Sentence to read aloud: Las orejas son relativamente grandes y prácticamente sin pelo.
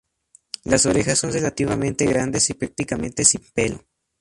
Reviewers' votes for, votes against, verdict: 2, 0, accepted